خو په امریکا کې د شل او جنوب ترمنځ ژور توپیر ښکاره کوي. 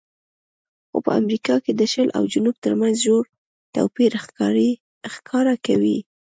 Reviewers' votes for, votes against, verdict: 2, 0, accepted